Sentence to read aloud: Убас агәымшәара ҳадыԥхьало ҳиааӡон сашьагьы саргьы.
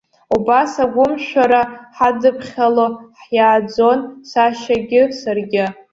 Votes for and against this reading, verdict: 1, 2, rejected